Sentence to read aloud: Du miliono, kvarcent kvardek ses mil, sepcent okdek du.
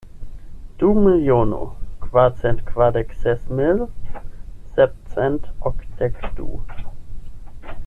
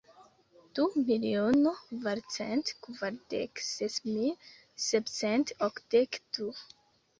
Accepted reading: first